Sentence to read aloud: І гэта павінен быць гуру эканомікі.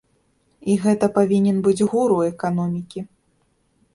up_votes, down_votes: 2, 0